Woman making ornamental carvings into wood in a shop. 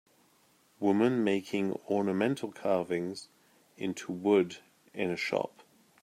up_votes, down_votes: 2, 0